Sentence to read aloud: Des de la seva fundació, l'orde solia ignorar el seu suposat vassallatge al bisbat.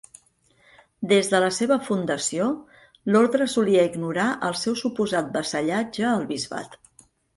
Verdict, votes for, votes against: accepted, 2, 0